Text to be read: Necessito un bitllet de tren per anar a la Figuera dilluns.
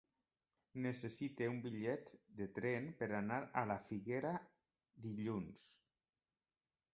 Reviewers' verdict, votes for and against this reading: accepted, 2, 1